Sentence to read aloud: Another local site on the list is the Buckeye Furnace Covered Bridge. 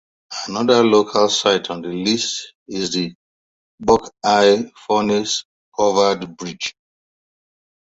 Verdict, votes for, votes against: accepted, 2, 1